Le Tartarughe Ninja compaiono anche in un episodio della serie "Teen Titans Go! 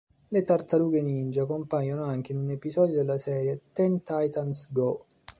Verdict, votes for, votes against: rejected, 0, 2